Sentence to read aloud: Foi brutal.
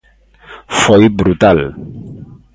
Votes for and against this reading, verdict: 2, 0, accepted